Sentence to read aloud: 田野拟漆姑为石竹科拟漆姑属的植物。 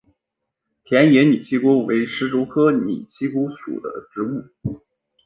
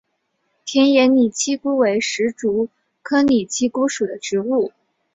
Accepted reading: second